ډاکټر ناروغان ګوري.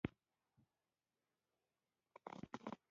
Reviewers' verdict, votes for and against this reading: rejected, 0, 2